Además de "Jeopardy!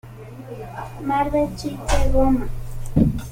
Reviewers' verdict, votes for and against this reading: rejected, 0, 3